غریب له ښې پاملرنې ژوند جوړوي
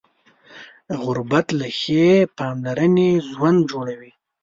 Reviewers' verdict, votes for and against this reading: rejected, 1, 2